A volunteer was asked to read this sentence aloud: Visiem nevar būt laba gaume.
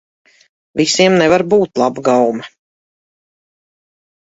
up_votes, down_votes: 0, 2